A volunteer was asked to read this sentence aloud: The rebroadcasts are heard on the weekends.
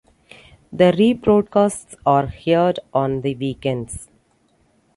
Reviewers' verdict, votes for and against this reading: rejected, 0, 2